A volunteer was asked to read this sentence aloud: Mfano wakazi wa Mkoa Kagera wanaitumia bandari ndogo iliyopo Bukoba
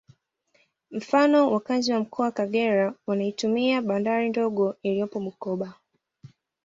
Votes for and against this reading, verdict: 2, 0, accepted